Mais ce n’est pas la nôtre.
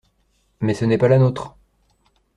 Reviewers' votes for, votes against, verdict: 2, 0, accepted